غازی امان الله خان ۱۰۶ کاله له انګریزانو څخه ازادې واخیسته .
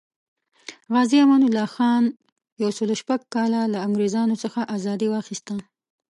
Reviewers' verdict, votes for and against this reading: rejected, 0, 2